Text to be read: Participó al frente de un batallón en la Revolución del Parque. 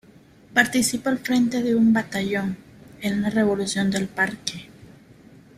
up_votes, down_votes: 2, 0